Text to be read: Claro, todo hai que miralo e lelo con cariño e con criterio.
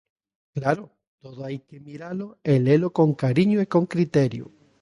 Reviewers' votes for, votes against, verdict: 2, 0, accepted